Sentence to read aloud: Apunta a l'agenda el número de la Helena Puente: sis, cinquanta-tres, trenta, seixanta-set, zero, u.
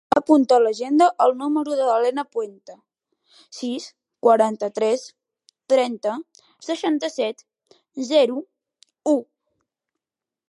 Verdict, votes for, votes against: rejected, 0, 2